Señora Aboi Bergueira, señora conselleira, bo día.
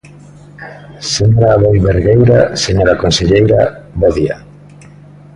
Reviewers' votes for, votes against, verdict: 2, 0, accepted